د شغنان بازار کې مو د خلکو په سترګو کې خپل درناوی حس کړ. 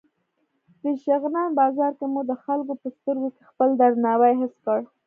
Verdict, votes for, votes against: accepted, 2, 0